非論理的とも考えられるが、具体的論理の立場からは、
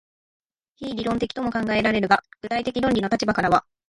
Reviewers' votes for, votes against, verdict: 2, 1, accepted